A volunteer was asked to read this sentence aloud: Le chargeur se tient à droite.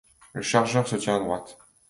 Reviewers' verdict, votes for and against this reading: accepted, 2, 0